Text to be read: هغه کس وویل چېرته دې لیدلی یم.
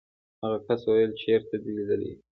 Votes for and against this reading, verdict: 2, 0, accepted